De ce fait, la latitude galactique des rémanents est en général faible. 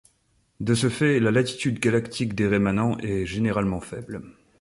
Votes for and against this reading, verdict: 0, 2, rejected